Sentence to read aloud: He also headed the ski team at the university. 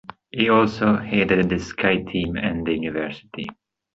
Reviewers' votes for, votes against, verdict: 2, 1, accepted